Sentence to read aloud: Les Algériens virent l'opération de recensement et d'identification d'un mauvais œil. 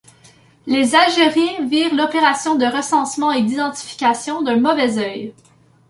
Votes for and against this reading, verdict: 0, 2, rejected